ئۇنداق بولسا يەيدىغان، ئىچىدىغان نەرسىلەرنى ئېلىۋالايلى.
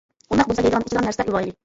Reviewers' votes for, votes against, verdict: 0, 2, rejected